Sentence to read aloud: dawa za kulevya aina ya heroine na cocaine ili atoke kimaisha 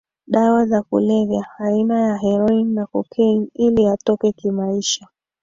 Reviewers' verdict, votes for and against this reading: accepted, 2, 0